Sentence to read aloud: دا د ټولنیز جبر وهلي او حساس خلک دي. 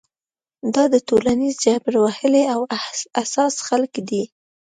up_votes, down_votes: 2, 0